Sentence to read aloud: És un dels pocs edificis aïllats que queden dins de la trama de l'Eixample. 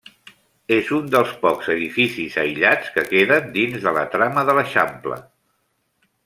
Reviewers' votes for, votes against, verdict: 2, 0, accepted